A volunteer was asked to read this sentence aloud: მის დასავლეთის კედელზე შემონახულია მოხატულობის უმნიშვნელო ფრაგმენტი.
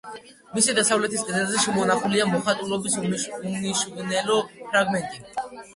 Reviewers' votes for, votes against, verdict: 1, 2, rejected